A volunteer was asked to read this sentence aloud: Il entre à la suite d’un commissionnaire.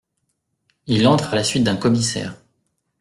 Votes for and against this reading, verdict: 1, 2, rejected